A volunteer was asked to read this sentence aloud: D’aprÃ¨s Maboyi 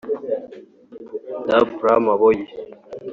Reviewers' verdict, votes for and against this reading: rejected, 2, 3